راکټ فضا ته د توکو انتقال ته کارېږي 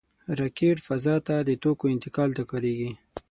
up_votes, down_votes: 3, 6